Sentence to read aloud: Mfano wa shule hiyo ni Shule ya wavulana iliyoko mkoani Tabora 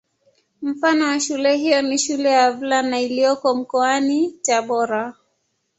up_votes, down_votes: 1, 2